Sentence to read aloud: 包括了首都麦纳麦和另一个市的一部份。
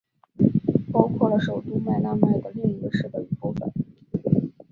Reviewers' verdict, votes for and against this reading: accepted, 3, 0